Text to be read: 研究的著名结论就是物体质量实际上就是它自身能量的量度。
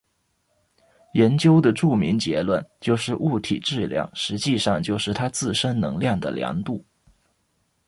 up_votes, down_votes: 2, 0